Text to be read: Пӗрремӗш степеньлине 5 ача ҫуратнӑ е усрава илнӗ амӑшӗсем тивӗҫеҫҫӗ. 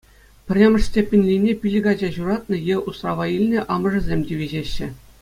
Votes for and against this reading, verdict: 0, 2, rejected